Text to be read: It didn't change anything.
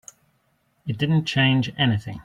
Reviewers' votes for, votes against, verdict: 2, 0, accepted